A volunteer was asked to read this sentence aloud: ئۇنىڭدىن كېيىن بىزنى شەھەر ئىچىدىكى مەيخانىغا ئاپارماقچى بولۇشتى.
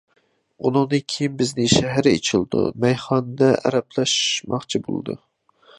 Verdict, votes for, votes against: rejected, 0, 2